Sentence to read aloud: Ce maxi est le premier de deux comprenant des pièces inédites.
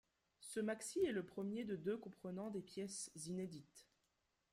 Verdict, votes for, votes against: accepted, 2, 0